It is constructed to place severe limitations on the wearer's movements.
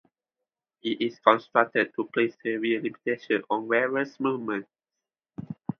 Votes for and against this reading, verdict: 2, 0, accepted